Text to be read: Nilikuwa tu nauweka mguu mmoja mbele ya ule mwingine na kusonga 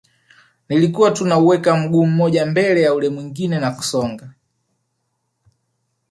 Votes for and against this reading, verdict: 2, 0, accepted